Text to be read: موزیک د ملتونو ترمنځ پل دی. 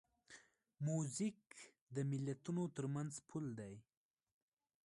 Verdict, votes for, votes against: rejected, 0, 2